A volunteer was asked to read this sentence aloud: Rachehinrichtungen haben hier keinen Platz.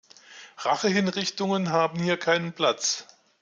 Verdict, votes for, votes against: accepted, 2, 0